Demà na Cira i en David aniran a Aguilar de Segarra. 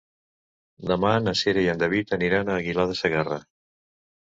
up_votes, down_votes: 2, 0